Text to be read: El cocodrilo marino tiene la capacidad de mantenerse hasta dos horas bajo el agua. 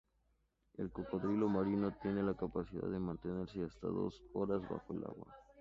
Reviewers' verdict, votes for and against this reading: accepted, 2, 0